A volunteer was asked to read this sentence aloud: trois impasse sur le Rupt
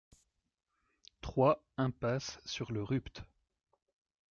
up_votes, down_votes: 2, 0